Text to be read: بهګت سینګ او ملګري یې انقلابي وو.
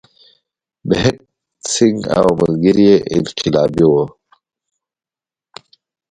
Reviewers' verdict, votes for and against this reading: accepted, 2, 1